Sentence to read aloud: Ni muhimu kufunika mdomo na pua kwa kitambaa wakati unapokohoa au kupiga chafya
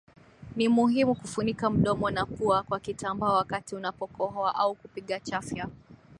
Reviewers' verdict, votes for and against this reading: accepted, 16, 1